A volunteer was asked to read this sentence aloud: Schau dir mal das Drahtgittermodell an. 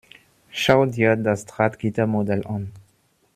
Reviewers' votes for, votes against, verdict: 0, 2, rejected